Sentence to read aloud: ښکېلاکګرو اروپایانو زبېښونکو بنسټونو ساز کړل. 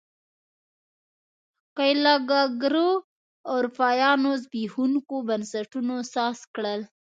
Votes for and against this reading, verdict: 0, 2, rejected